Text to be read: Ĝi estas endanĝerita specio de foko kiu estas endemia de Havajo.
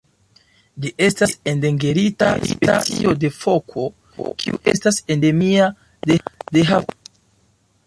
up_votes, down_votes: 1, 2